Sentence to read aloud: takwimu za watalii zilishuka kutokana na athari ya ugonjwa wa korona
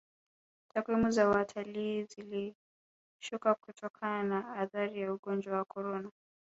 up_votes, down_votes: 1, 2